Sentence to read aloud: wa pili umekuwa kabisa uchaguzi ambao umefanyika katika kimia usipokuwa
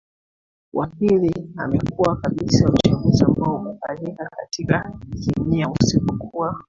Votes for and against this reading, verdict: 1, 2, rejected